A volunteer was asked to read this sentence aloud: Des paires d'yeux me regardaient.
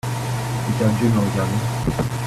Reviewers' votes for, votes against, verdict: 0, 2, rejected